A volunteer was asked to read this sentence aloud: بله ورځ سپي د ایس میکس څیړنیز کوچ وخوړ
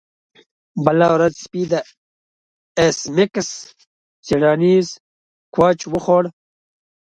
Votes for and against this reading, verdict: 2, 0, accepted